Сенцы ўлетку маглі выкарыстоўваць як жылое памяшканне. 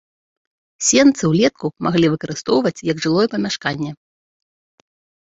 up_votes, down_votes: 3, 0